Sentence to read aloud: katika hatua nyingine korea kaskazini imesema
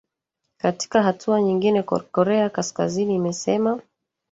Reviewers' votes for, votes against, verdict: 1, 2, rejected